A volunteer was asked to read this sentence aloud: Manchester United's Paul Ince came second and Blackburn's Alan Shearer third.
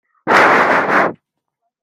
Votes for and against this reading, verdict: 0, 2, rejected